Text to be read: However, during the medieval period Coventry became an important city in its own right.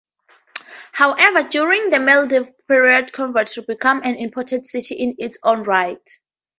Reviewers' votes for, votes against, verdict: 0, 2, rejected